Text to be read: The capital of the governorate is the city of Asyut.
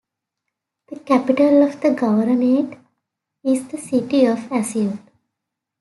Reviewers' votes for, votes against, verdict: 2, 0, accepted